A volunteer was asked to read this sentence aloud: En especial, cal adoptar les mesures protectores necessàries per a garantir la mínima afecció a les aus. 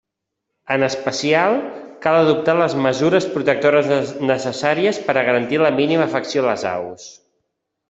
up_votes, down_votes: 3, 1